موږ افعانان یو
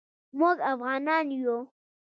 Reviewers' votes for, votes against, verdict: 1, 2, rejected